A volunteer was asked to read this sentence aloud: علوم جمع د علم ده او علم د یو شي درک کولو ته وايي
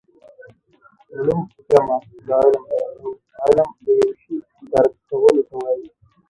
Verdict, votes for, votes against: rejected, 0, 3